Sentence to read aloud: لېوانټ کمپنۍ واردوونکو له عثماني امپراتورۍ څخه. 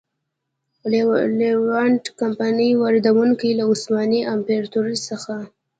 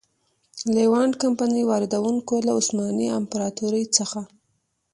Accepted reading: second